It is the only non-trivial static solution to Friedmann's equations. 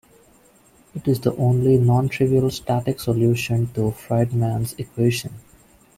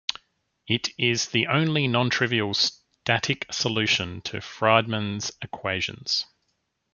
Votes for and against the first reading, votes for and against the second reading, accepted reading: 1, 2, 2, 0, second